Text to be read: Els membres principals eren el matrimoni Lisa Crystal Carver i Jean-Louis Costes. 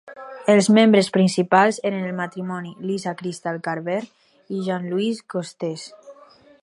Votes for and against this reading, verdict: 4, 0, accepted